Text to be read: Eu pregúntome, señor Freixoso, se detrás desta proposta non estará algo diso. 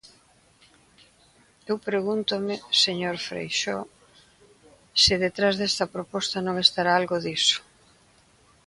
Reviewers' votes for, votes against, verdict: 1, 2, rejected